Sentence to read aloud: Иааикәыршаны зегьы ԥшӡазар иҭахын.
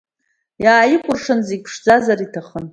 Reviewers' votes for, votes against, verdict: 2, 0, accepted